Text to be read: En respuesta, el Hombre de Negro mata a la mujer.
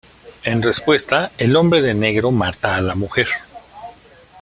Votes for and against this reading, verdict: 2, 0, accepted